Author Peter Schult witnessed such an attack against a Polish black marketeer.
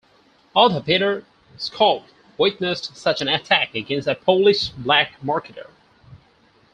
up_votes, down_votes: 4, 6